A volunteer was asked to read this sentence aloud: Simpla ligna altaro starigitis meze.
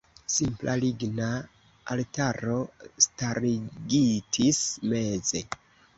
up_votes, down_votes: 1, 2